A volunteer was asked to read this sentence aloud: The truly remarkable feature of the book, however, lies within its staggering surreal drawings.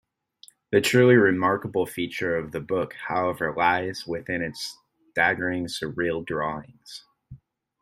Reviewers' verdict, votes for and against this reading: accepted, 2, 0